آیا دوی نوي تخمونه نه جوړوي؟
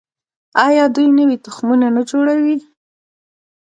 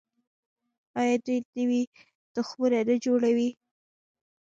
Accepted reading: second